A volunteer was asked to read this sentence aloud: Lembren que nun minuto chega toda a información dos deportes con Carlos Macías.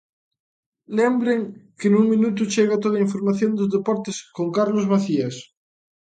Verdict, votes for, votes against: accepted, 2, 0